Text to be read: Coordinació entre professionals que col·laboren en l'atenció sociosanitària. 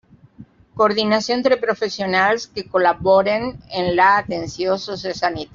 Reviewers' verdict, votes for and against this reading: rejected, 0, 2